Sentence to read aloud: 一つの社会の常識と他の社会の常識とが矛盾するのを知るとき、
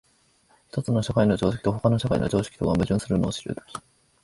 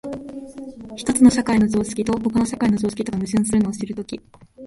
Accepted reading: second